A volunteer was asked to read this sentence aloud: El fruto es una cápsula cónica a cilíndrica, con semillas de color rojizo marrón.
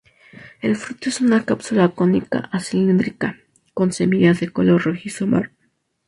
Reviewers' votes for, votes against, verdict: 0, 2, rejected